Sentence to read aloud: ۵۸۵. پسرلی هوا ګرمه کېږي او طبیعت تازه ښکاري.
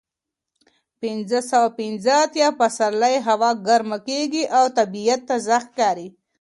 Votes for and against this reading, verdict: 0, 2, rejected